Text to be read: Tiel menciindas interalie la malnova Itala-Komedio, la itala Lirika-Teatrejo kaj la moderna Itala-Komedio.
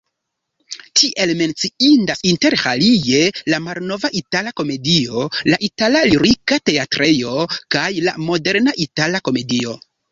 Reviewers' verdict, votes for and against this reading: rejected, 0, 2